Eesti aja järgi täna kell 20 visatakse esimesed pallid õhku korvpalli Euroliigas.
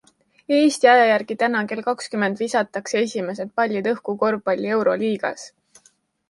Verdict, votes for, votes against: rejected, 0, 2